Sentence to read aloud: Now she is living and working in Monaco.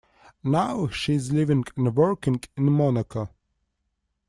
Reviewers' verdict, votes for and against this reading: accepted, 2, 1